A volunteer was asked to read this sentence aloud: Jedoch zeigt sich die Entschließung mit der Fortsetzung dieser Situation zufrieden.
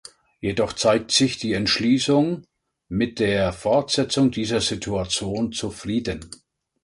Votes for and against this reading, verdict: 2, 0, accepted